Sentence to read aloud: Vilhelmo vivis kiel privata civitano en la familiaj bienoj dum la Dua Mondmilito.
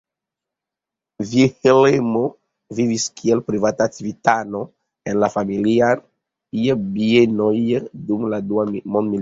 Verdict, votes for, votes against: accepted, 2, 1